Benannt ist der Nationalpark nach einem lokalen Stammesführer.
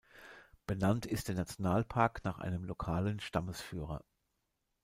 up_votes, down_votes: 2, 0